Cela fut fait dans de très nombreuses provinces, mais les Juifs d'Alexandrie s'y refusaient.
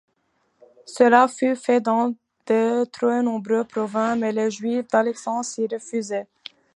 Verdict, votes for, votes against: rejected, 1, 2